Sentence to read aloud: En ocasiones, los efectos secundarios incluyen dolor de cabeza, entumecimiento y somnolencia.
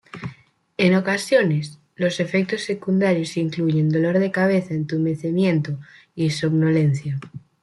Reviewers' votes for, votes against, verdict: 2, 0, accepted